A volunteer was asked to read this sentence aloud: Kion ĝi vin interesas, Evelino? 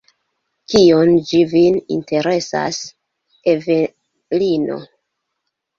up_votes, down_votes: 0, 2